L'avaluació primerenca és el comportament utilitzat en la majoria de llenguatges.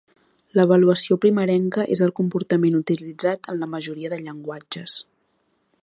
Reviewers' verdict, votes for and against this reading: accepted, 2, 0